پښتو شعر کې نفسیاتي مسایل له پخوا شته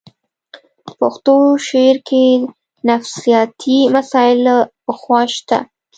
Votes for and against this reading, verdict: 2, 0, accepted